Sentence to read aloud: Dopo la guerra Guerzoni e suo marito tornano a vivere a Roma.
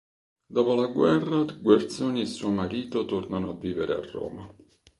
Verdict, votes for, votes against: accepted, 3, 0